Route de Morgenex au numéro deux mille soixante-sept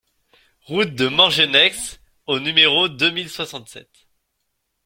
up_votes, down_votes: 2, 0